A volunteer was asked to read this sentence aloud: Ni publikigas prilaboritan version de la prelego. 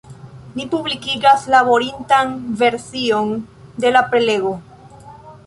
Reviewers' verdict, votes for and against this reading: accepted, 2, 0